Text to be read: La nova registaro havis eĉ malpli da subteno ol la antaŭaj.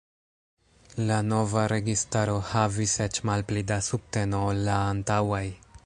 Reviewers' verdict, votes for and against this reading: rejected, 0, 2